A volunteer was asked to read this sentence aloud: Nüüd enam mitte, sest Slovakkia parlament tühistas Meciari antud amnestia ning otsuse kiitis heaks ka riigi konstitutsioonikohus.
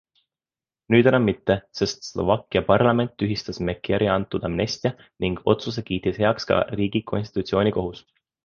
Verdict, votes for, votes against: accepted, 3, 0